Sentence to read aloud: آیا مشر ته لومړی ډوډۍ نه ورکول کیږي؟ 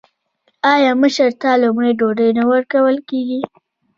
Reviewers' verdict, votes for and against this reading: rejected, 1, 2